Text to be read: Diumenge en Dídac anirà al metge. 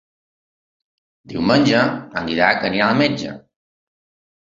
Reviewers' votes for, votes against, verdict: 2, 0, accepted